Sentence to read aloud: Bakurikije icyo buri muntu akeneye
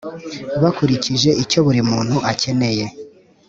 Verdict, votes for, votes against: accepted, 3, 0